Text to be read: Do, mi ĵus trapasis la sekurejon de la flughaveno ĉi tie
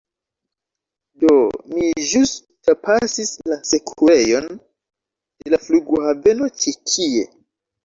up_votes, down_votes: 0, 3